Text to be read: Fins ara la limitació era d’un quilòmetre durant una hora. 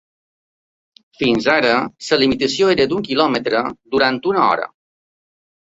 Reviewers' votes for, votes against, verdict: 3, 1, accepted